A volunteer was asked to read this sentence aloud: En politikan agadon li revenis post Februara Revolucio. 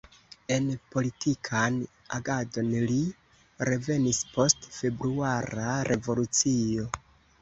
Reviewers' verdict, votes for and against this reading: accepted, 2, 0